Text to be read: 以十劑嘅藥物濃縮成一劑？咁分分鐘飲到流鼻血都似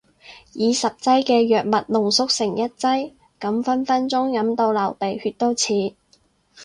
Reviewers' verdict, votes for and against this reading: rejected, 0, 2